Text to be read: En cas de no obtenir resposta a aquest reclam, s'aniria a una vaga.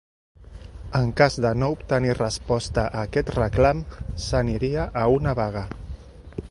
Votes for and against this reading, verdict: 2, 0, accepted